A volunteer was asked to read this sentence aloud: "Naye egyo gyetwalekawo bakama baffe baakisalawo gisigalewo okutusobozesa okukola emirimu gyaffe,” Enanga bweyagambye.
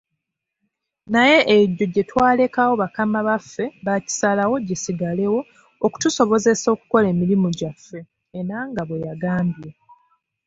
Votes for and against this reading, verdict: 2, 0, accepted